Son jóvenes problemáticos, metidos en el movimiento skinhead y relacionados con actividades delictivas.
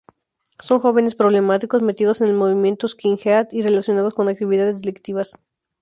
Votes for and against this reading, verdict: 4, 0, accepted